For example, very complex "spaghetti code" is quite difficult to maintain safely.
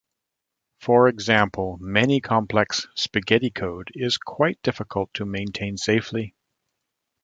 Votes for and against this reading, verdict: 1, 2, rejected